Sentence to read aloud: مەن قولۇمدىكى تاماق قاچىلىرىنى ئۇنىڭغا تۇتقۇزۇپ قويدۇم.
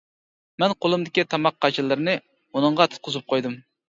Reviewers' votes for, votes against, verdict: 2, 0, accepted